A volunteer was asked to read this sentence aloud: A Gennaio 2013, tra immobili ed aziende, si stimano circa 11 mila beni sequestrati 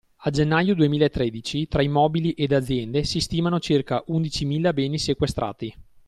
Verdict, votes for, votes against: rejected, 0, 2